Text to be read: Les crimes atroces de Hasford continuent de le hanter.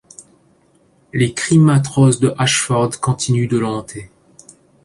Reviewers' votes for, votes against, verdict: 1, 2, rejected